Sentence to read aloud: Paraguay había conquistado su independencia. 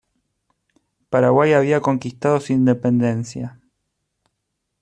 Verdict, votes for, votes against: accepted, 2, 0